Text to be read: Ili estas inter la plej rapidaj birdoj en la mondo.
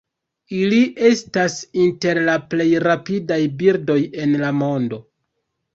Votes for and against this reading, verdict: 1, 2, rejected